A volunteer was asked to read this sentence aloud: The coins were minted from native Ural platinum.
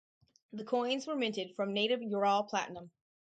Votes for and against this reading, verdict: 4, 0, accepted